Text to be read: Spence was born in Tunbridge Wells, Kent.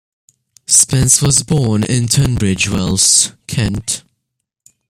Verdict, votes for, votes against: accepted, 2, 0